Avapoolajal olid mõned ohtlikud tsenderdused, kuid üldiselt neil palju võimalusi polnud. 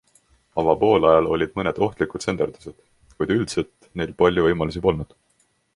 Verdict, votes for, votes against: accepted, 2, 0